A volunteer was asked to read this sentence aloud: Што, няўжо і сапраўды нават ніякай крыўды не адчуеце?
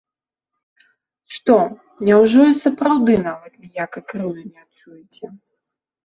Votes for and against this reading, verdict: 3, 2, accepted